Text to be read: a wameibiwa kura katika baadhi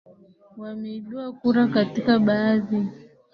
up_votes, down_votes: 2, 3